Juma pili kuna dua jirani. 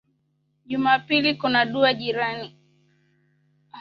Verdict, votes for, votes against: accepted, 3, 0